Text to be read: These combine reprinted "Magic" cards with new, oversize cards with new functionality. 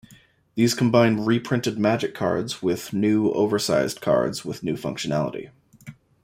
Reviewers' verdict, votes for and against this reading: accepted, 2, 0